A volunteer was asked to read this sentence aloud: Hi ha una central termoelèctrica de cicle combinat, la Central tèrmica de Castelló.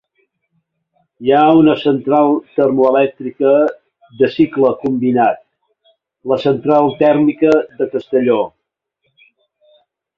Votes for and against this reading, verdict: 4, 0, accepted